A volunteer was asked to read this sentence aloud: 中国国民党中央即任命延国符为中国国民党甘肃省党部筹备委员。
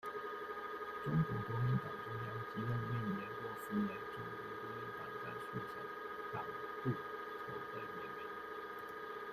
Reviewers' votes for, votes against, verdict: 0, 2, rejected